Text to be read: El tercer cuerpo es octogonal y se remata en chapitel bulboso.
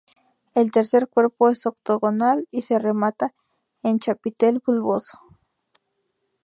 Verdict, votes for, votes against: accepted, 2, 0